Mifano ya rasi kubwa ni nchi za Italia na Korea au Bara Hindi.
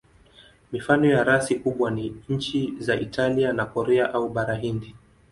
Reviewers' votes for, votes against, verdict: 2, 0, accepted